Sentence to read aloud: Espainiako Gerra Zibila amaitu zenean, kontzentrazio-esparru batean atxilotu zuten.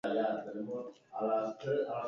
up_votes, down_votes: 0, 4